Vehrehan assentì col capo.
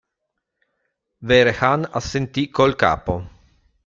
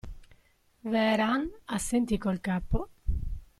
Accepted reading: first